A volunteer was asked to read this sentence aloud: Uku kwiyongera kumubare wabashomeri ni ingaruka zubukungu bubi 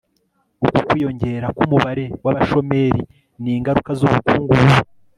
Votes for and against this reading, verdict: 2, 0, accepted